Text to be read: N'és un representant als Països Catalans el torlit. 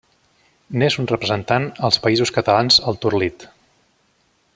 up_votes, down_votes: 2, 0